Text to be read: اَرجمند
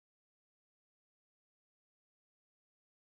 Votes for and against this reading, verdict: 0, 2, rejected